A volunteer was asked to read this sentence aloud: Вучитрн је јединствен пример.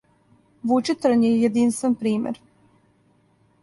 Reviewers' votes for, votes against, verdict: 2, 0, accepted